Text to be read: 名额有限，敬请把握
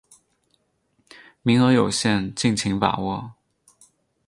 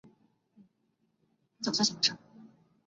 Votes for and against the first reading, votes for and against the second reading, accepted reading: 4, 0, 0, 2, first